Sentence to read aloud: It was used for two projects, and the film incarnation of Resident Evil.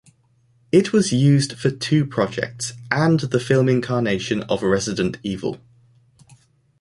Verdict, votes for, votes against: accepted, 2, 1